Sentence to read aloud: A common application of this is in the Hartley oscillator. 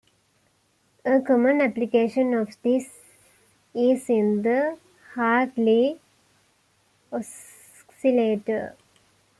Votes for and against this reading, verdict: 2, 0, accepted